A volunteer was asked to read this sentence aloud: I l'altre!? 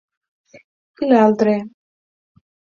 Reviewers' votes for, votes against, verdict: 6, 0, accepted